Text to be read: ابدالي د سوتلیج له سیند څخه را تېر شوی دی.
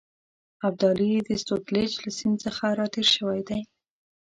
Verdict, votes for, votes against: accepted, 8, 0